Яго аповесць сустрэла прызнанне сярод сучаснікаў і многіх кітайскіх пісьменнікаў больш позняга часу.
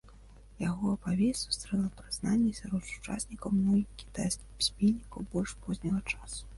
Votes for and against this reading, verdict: 1, 2, rejected